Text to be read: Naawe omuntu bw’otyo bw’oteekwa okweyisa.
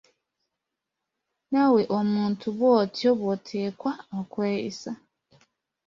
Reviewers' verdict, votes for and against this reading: accepted, 2, 0